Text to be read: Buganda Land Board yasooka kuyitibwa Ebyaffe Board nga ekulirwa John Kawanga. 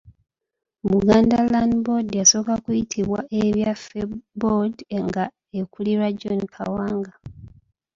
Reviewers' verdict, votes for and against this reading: rejected, 0, 2